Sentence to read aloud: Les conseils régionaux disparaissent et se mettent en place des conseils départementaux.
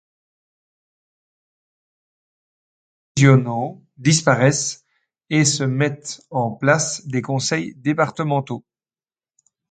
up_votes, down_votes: 1, 2